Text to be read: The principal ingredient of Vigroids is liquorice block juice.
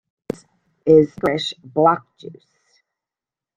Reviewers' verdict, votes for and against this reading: rejected, 0, 2